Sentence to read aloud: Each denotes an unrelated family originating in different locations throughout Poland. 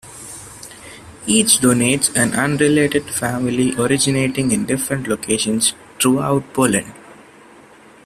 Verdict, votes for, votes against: rejected, 0, 2